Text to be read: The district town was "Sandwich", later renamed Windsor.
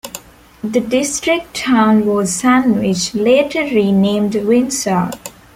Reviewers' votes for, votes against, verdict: 2, 0, accepted